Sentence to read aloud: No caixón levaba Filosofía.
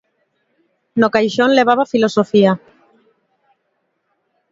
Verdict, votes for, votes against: accepted, 2, 0